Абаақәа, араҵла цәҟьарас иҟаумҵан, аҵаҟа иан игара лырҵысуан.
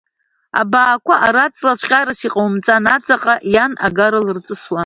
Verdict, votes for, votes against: rejected, 0, 2